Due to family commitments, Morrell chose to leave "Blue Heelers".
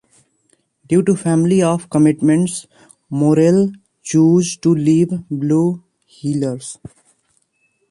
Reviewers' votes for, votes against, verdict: 1, 2, rejected